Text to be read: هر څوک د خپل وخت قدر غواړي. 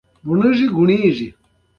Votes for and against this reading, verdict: 1, 2, rejected